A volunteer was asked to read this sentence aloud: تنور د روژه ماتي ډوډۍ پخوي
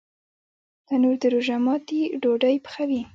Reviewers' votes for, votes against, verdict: 1, 2, rejected